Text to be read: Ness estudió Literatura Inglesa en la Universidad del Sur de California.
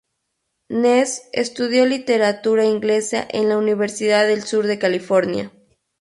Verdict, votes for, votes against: accepted, 4, 0